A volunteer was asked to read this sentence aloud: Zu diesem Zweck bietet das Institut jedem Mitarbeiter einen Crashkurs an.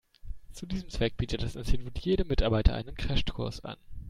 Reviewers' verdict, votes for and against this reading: rejected, 0, 2